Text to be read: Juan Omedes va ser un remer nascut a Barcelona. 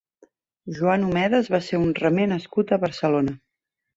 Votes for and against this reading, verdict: 3, 0, accepted